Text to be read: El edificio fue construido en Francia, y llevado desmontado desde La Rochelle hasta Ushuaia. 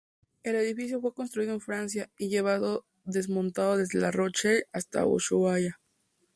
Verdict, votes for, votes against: rejected, 2, 2